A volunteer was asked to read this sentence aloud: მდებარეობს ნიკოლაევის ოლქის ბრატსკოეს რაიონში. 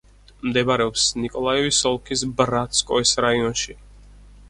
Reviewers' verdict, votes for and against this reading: accepted, 4, 0